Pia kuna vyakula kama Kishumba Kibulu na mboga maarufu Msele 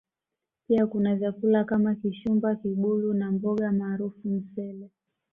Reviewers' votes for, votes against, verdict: 2, 0, accepted